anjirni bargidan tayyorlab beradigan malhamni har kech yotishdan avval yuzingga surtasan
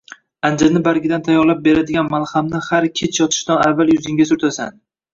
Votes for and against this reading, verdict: 0, 2, rejected